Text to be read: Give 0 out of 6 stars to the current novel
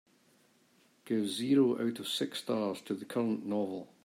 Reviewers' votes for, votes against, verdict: 0, 2, rejected